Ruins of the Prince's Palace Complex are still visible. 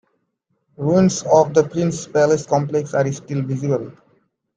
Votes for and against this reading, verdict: 2, 0, accepted